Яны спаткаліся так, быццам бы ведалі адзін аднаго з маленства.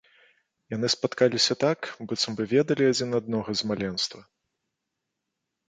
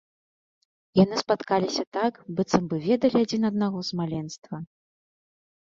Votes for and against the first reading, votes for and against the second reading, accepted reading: 0, 2, 2, 0, second